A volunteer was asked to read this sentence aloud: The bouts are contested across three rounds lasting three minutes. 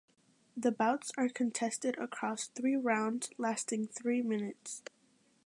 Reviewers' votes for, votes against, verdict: 2, 0, accepted